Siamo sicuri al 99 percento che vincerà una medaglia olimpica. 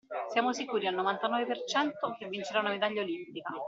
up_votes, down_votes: 0, 2